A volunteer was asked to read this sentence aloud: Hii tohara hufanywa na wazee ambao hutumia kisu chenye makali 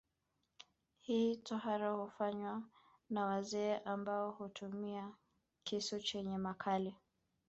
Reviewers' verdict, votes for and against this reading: rejected, 1, 2